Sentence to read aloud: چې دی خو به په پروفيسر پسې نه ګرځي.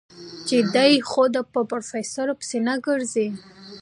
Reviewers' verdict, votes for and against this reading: accepted, 2, 1